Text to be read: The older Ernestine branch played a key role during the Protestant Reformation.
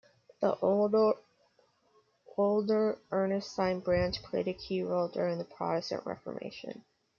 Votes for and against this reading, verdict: 1, 2, rejected